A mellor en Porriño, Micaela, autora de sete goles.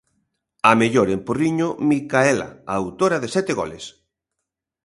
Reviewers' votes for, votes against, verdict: 2, 0, accepted